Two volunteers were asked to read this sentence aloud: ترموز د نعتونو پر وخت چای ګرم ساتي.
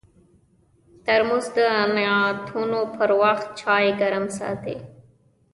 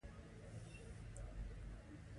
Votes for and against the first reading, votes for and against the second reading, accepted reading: 2, 0, 0, 2, first